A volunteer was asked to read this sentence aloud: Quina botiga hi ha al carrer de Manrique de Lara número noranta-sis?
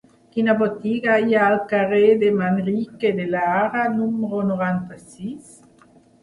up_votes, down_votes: 2, 1